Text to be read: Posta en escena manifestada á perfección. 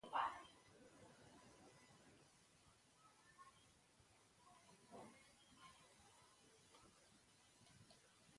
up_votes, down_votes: 0, 2